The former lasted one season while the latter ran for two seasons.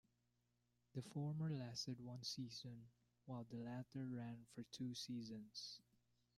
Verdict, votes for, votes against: accepted, 2, 0